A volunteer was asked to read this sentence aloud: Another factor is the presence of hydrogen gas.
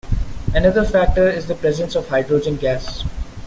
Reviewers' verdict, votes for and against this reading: accepted, 2, 0